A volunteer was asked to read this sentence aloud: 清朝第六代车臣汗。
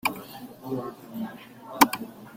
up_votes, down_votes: 0, 2